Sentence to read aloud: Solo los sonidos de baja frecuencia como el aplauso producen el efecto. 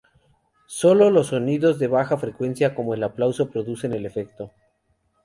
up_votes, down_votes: 2, 0